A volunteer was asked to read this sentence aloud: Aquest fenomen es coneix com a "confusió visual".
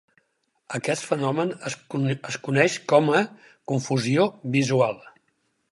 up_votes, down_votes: 6, 2